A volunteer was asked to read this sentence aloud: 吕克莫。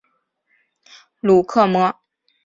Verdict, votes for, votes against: rejected, 0, 3